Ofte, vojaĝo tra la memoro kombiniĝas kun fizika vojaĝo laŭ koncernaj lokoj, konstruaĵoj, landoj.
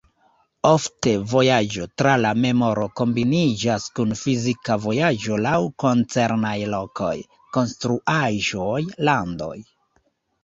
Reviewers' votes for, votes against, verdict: 2, 0, accepted